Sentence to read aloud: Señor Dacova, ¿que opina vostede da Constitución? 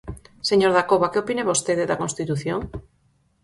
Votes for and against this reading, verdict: 4, 0, accepted